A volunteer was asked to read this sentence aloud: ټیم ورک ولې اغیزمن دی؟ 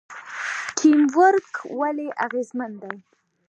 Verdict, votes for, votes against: rejected, 1, 2